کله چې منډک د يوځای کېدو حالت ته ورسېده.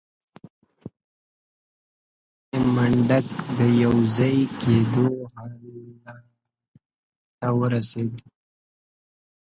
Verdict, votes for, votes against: rejected, 0, 2